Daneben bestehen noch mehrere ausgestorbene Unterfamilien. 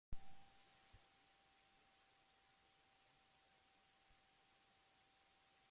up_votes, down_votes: 0, 2